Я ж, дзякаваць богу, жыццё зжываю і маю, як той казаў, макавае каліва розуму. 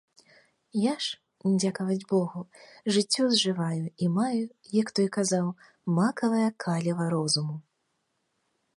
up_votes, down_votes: 2, 0